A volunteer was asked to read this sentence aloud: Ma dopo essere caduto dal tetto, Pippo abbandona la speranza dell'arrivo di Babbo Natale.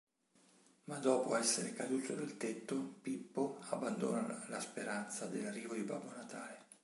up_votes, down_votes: 2, 1